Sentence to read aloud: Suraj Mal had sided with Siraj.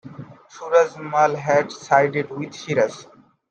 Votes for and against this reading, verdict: 2, 1, accepted